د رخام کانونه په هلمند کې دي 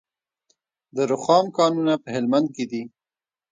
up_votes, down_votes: 2, 1